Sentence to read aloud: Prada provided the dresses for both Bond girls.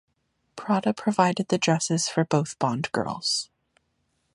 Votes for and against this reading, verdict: 2, 0, accepted